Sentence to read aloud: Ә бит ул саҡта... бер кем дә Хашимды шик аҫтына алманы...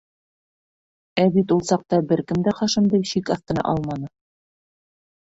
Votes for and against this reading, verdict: 1, 2, rejected